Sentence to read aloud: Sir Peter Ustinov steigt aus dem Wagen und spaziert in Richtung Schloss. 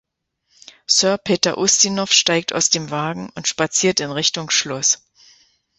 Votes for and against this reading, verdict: 2, 0, accepted